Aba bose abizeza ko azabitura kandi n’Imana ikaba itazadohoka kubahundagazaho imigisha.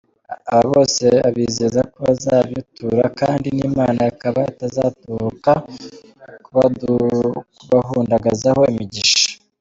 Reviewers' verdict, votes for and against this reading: rejected, 0, 2